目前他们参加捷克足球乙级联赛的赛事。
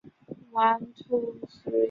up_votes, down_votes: 0, 2